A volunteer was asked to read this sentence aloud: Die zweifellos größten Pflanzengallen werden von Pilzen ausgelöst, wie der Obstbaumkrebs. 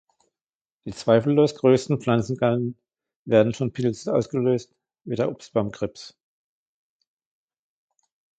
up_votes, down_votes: 0, 2